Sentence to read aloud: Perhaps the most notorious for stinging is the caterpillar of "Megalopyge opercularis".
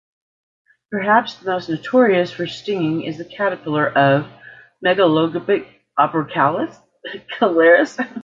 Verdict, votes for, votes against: rejected, 1, 2